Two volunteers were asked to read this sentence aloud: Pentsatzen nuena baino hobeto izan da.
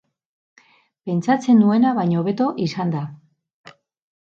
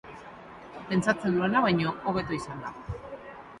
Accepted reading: first